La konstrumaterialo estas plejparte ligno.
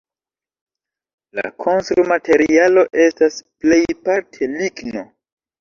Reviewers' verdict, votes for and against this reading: accepted, 2, 1